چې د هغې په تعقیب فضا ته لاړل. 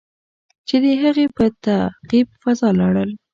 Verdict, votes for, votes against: accepted, 2, 0